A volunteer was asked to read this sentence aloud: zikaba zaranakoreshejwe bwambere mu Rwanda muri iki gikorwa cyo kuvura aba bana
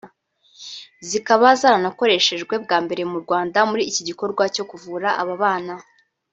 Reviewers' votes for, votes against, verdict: 0, 2, rejected